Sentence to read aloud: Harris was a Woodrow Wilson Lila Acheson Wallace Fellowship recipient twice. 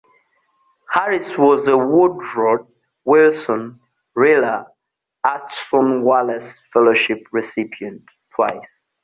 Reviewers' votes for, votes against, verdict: 2, 0, accepted